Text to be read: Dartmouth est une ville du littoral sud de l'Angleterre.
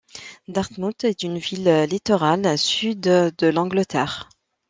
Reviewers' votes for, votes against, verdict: 1, 2, rejected